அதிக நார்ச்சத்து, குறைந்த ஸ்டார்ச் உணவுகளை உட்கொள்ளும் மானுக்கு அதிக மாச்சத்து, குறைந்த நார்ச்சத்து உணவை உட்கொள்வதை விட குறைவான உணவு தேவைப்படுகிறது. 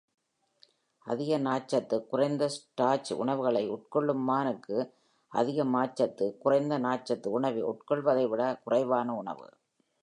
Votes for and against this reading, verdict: 1, 2, rejected